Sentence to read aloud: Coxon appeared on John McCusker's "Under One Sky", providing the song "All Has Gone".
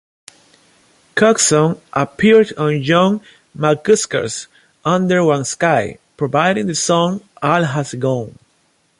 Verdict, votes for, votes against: accepted, 2, 0